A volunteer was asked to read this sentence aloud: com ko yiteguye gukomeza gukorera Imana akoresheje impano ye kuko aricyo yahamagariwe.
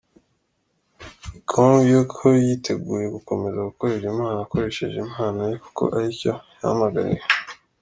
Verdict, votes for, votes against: accepted, 3, 2